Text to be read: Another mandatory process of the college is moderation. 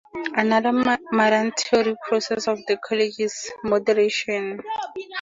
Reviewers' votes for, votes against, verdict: 0, 2, rejected